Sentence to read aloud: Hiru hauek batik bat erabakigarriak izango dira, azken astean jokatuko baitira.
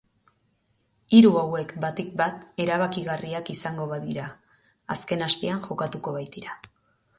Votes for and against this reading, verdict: 0, 2, rejected